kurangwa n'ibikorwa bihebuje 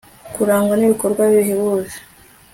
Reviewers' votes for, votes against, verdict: 2, 0, accepted